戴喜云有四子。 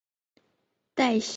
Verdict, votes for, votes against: rejected, 0, 6